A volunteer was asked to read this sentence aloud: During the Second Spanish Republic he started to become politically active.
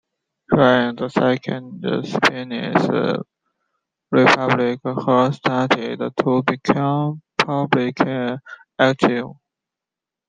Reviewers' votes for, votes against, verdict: 0, 2, rejected